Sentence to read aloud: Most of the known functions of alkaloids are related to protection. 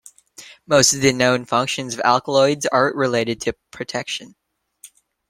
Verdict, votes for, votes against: accepted, 2, 0